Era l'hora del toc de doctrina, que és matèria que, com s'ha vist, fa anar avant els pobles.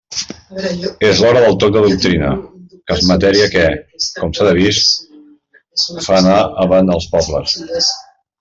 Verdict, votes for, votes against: rejected, 0, 2